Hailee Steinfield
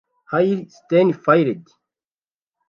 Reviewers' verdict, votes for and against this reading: rejected, 1, 2